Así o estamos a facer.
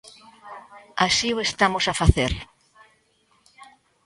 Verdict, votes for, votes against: accepted, 2, 0